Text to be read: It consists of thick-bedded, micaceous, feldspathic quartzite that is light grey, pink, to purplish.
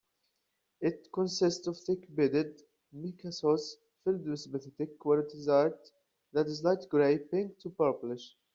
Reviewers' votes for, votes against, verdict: 0, 2, rejected